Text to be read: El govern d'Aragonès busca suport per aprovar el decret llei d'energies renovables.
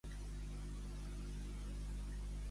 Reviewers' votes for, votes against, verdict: 0, 2, rejected